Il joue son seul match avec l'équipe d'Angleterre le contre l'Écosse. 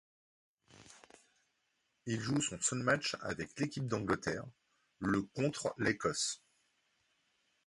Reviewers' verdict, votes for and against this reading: accepted, 2, 0